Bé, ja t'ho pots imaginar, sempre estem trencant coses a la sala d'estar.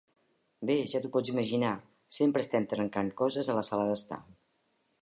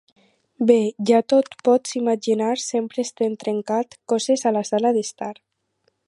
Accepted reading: first